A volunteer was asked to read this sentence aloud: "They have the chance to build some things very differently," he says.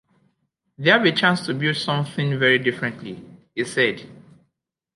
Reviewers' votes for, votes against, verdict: 1, 2, rejected